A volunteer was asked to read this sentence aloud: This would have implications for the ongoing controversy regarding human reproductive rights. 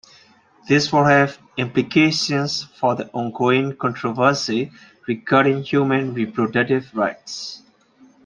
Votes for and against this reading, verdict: 1, 2, rejected